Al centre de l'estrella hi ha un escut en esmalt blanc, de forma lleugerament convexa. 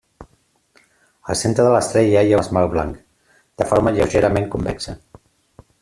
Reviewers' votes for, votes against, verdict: 0, 2, rejected